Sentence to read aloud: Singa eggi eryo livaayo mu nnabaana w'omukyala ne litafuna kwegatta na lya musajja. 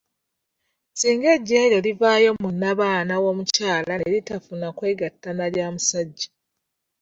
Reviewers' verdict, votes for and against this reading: rejected, 0, 2